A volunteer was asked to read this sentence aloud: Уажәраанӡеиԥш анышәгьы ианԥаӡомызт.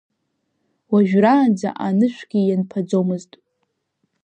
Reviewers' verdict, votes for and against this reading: rejected, 1, 2